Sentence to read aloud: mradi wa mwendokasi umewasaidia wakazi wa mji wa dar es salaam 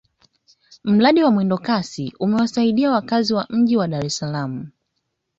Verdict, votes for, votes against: accepted, 2, 1